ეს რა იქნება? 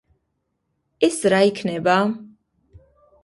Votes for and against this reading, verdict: 2, 0, accepted